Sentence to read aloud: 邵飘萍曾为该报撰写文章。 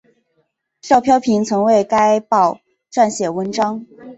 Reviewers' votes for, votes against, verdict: 2, 1, accepted